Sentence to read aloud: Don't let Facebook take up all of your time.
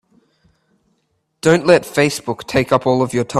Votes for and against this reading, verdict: 0, 2, rejected